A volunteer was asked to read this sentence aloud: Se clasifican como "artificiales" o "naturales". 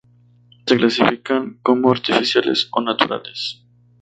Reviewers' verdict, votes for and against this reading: accepted, 4, 0